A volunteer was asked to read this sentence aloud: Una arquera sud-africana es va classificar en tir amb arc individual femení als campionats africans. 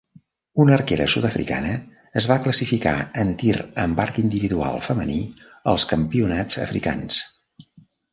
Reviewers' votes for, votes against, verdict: 1, 2, rejected